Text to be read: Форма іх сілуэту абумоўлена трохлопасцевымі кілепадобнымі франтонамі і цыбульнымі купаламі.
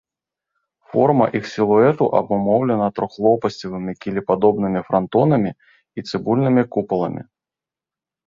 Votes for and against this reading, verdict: 2, 0, accepted